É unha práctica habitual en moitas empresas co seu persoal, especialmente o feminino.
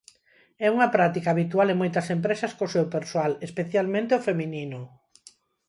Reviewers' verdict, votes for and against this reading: accepted, 4, 0